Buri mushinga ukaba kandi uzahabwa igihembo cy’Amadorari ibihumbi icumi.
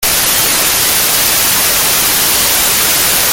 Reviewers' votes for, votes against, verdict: 0, 3, rejected